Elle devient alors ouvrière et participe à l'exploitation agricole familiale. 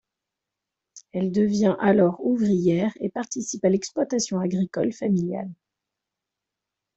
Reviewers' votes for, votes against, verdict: 2, 0, accepted